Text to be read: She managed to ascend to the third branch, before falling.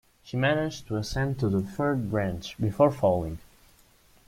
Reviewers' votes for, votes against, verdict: 2, 0, accepted